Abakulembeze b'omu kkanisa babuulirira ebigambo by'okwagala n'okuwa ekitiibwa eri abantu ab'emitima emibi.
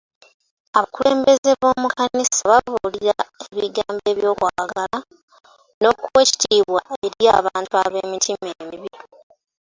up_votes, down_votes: 2, 0